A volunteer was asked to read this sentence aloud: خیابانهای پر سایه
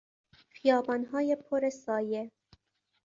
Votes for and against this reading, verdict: 2, 0, accepted